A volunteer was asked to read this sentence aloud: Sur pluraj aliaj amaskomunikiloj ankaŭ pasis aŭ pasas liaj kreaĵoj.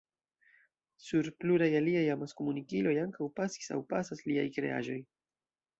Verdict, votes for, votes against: rejected, 1, 2